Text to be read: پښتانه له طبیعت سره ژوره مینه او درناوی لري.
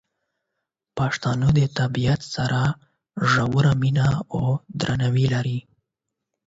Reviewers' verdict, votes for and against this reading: rejected, 4, 8